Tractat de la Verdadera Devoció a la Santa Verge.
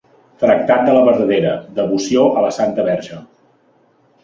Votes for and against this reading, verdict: 3, 1, accepted